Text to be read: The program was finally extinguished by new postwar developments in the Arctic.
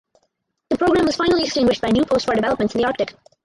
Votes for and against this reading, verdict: 2, 2, rejected